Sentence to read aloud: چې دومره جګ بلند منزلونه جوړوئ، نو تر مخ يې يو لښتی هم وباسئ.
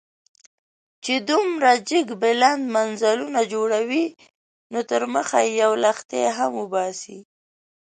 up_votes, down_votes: 1, 2